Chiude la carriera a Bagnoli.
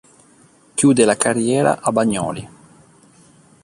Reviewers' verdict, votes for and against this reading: accepted, 2, 0